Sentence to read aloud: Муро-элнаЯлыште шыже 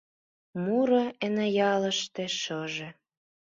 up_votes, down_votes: 1, 2